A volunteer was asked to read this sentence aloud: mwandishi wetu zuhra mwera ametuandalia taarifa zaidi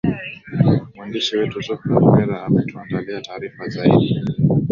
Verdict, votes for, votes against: accepted, 4, 1